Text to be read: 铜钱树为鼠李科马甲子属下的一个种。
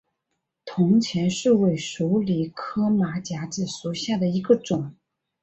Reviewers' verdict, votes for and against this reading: accepted, 2, 0